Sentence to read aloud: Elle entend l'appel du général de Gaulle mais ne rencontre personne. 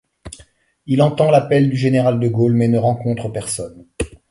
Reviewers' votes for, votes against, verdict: 1, 2, rejected